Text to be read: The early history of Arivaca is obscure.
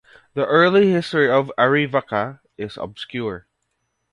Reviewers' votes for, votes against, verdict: 2, 0, accepted